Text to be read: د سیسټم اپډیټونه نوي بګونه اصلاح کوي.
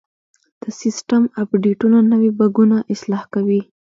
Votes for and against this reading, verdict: 0, 2, rejected